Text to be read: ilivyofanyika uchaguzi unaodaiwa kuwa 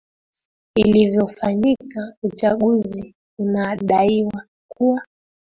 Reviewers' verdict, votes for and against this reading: accepted, 3, 2